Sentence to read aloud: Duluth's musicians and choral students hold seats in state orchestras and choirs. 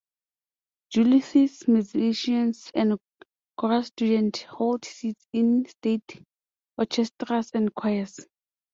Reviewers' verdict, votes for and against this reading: rejected, 0, 2